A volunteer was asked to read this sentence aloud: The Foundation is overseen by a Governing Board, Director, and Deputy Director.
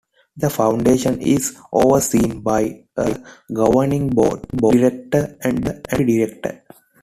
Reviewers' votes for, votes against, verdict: 2, 1, accepted